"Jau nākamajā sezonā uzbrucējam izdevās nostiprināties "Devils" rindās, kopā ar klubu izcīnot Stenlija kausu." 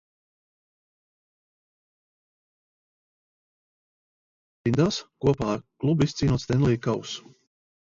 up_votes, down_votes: 0, 2